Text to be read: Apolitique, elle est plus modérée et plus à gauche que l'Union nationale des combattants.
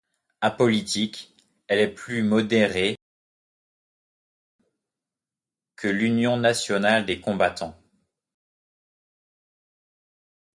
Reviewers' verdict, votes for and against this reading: rejected, 0, 2